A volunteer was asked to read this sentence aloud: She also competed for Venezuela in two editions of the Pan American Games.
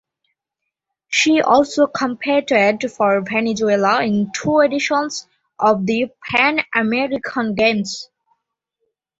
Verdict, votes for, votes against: accepted, 2, 1